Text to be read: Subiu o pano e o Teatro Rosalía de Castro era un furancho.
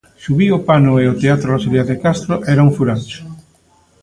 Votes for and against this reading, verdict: 0, 2, rejected